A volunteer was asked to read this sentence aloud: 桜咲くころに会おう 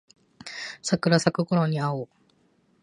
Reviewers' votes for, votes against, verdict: 2, 0, accepted